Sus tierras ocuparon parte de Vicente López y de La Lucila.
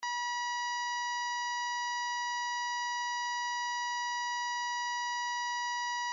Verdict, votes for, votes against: rejected, 0, 2